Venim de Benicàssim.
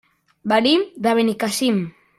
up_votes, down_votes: 1, 2